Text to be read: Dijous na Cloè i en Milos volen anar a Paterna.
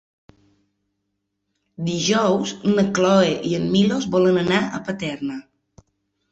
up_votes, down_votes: 2, 0